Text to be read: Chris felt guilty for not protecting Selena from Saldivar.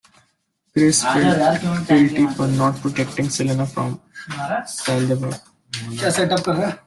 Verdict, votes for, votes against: rejected, 0, 2